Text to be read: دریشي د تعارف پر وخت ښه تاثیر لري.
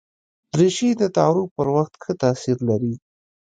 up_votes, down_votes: 2, 0